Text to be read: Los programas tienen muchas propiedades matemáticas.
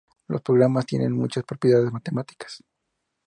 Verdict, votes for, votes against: accepted, 2, 0